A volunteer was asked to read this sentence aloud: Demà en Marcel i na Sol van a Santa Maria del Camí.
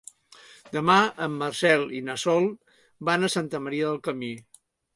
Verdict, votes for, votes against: accepted, 3, 0